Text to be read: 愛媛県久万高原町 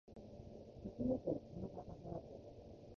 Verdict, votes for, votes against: rejected, 0, 2